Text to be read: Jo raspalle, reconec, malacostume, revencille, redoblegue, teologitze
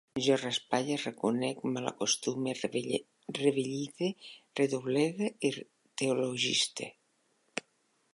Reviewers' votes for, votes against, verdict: 0, 2, rejected